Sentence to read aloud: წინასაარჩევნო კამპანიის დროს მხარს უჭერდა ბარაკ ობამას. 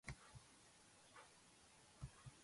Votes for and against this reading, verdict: 0, 2, rejected